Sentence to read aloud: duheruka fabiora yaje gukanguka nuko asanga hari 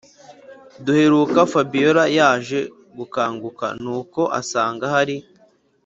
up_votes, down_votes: 2, 0